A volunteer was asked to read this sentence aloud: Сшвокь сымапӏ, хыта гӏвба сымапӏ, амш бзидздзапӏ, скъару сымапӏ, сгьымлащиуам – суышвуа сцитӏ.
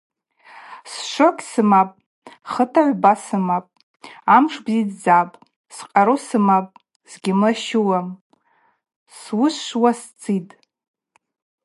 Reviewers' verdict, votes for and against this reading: accepted, 4, 0